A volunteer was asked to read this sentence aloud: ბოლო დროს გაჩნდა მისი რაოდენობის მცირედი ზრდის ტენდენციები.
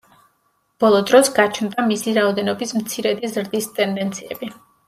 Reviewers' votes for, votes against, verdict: 2, 1, accepted